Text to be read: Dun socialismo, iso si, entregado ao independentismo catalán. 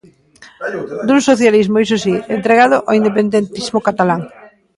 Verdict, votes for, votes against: rejected, 0, 2